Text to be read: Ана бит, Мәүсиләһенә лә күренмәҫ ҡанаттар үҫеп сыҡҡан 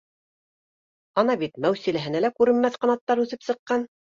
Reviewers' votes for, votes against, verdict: 2, 0, accepted